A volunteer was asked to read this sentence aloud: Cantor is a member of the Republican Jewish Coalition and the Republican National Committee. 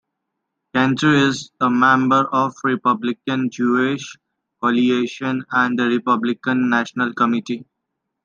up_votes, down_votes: 0, 2